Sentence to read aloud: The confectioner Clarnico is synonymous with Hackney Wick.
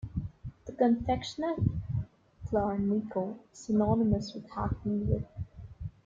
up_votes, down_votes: 0, 2